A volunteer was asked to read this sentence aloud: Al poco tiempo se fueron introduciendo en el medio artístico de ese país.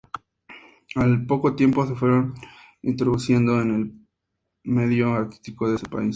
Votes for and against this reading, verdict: 2, 0, accepted